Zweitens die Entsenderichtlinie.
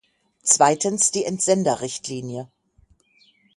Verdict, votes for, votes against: rejected, 3, 6